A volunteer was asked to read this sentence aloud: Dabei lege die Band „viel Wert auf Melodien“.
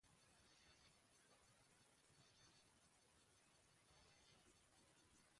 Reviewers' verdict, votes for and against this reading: rejected, 0, 2